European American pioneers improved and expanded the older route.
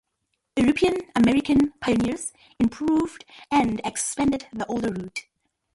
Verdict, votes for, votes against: accepted, 2, 1